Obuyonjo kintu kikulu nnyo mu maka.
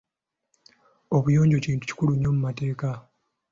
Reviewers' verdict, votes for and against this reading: rejected, 1, 2